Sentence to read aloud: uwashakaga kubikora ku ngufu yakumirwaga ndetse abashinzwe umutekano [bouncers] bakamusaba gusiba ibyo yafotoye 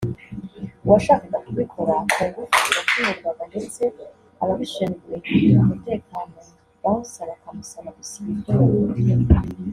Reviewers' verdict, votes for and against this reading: accepted, 3, 2